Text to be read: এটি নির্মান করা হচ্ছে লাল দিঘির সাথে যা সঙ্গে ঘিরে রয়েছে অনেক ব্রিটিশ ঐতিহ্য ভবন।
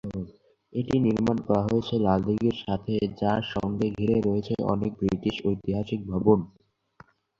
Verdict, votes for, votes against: rejected, 0, 2